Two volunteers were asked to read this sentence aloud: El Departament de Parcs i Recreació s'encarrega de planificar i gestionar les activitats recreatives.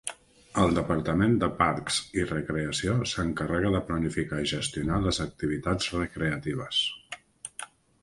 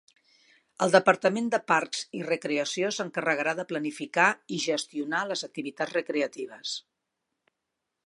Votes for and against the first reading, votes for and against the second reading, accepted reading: 3, 0, 0, 2, first